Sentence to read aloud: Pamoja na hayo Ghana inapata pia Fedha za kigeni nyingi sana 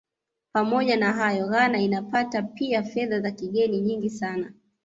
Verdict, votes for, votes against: accepted, 2, 0